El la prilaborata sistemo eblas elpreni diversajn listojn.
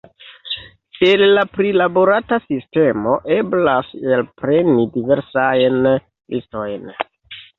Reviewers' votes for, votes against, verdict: 0, 2, rejected